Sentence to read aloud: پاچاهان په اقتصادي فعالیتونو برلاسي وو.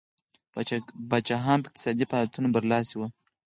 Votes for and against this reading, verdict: 4, 0, accepted